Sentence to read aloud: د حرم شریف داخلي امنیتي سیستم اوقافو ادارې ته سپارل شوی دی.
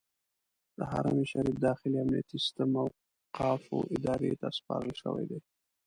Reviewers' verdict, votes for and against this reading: accepted, 2, 0